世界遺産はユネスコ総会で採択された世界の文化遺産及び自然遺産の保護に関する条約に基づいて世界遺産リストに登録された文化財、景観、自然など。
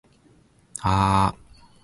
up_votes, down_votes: 1, 6